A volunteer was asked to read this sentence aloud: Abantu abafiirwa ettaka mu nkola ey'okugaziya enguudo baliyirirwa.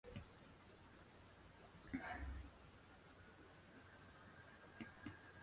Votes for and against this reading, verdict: 0, 2, rejected